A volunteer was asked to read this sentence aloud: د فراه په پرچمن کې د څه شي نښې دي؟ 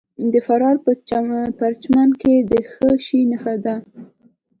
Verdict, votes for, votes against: accepted, 2, 0